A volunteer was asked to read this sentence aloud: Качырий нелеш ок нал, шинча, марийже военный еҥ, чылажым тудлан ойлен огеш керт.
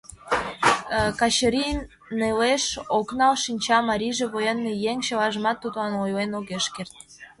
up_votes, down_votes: 2, 0